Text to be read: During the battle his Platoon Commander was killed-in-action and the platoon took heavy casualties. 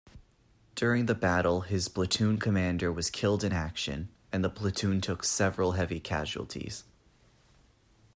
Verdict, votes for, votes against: rejected, 0, 2